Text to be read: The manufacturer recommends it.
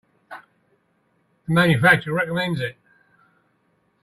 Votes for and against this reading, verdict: 1, 2, rejected